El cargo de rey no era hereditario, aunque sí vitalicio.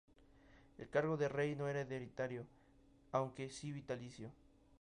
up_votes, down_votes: 0, 2